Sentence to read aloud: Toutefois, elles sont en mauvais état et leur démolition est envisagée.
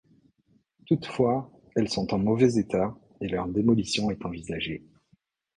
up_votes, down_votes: 2, 0